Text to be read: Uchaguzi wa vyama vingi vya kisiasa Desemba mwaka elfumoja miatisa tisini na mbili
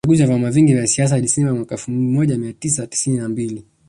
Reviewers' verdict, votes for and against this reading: rejected, 1, 4